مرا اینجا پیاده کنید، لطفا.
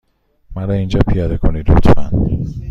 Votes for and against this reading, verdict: 2, 0, accepted